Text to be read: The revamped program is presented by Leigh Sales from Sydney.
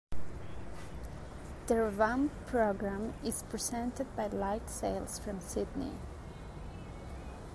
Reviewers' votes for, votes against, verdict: 0, 2, rejected